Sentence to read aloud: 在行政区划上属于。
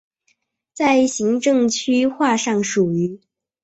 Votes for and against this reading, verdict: 2, 0, accepted